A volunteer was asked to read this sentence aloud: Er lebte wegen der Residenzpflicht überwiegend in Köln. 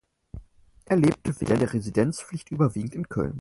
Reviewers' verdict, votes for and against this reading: rejected, 0, 4